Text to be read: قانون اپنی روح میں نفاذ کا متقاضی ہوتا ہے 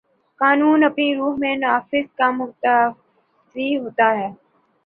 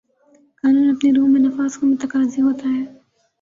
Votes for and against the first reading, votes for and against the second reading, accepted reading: 1, 2, 2, 1, second